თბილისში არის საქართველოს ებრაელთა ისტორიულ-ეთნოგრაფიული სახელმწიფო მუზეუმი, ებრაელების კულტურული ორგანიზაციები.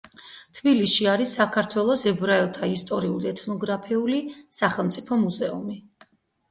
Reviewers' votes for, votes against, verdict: 0, 4, rejected